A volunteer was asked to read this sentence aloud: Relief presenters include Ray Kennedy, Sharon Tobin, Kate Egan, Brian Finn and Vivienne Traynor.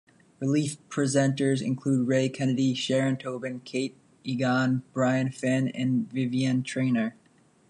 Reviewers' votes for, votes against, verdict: 2, 1, accepted